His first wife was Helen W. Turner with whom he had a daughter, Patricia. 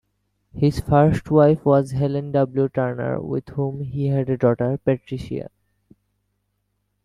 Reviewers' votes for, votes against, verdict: 2, 0, accepted